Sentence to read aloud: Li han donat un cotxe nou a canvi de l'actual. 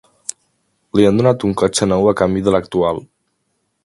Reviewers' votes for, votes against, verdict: 5, 0, accepted